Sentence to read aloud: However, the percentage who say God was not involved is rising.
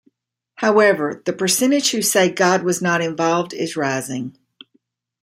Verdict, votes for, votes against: accepted, 2, 0